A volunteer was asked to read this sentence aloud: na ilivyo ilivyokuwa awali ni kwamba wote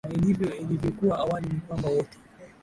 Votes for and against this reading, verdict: 2, 0, accepted